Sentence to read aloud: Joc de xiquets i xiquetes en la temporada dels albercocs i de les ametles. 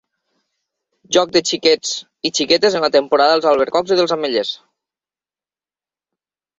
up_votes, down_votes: 0, 2